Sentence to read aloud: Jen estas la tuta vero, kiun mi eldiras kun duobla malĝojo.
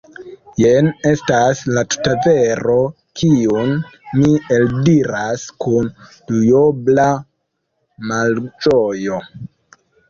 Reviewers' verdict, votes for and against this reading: rejected, 1, 2